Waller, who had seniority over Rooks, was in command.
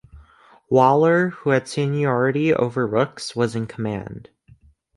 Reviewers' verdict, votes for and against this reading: accepted, 2, 0